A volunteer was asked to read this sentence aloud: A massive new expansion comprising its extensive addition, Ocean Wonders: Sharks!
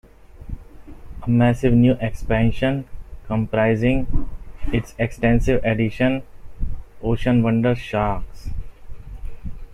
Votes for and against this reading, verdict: 1, 2, rejected